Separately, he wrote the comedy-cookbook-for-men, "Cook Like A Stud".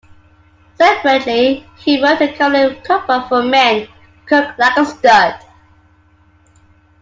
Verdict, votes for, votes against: rejected, 0, 2